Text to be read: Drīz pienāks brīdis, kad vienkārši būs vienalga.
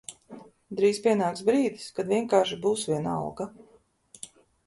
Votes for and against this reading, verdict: 2, 0, accepted